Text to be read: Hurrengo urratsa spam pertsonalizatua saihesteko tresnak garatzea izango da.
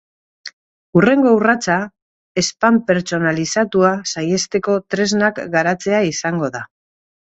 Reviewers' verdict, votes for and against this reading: rejected, 0, 2